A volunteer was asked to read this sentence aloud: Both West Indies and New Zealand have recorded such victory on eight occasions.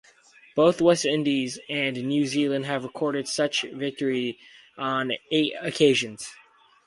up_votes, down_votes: 2, 2